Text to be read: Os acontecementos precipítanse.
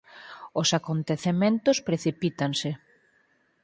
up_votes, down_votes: 4, 0